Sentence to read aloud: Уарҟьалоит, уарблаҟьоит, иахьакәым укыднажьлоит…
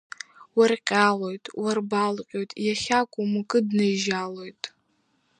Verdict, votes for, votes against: rejected, 1, 2